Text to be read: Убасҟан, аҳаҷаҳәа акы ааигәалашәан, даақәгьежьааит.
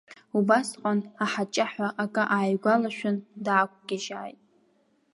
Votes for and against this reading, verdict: 2, 0, accepted